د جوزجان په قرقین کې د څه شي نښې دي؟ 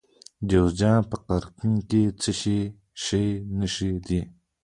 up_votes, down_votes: 2, 1